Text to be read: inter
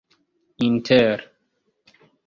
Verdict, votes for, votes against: rejected, 0, 2